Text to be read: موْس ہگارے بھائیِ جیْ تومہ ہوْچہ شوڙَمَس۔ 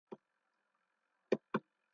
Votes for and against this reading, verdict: 0, 2, rejected